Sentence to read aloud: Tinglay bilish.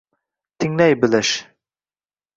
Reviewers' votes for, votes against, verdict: 2, 0, accepted